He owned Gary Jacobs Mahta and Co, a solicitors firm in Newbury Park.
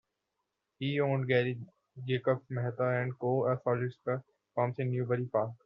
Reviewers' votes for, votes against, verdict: 0, 2, rejected